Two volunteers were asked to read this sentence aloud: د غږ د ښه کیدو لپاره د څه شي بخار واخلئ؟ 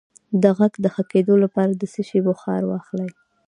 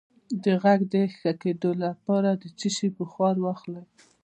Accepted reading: first